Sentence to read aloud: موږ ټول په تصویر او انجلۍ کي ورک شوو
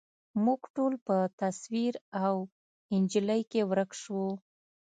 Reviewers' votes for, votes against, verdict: 2, 0, accepted